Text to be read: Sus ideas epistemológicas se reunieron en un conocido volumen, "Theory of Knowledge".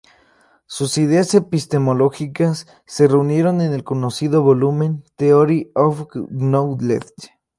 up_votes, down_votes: 0, 2